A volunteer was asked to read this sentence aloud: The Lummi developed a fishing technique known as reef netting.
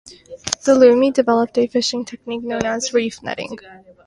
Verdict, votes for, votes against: accepted, 2, 0